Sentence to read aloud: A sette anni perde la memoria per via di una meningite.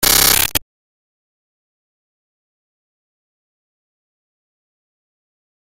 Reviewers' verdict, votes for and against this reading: rejected, 0, 2